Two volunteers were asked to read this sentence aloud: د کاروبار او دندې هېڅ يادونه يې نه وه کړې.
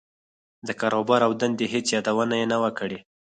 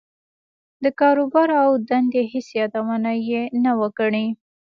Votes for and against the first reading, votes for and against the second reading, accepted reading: 2, 4, 2, 0, second